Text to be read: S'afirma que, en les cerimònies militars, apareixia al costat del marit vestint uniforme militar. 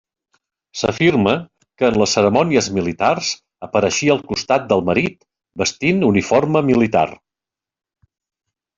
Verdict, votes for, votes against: accepted, 2, 1